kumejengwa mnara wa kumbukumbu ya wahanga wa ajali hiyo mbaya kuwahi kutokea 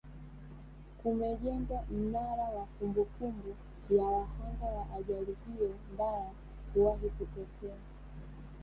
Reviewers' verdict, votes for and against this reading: rejected, 0, 2